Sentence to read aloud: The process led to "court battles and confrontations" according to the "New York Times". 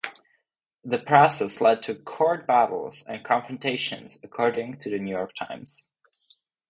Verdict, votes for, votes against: accepted, 4, 0